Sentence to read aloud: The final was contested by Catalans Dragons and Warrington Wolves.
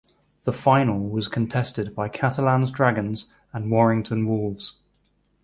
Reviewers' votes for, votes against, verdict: 4, 0, accepted